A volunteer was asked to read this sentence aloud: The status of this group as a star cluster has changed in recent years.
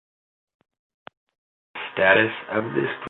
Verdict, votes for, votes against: rejected, 0, 2